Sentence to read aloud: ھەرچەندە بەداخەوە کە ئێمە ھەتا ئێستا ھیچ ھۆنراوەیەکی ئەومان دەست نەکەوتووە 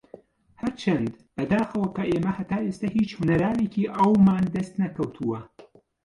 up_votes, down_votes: 0, 2